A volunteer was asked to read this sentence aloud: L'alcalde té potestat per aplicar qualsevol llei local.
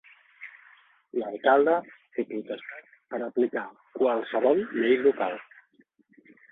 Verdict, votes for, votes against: rejected, 2, 3